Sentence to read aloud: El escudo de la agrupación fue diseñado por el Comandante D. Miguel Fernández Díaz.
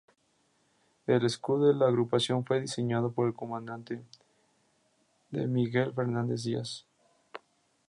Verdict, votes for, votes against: rejected, 0, 2